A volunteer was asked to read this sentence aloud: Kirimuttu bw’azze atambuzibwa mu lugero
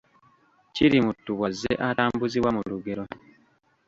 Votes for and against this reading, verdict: 2, 1, accepted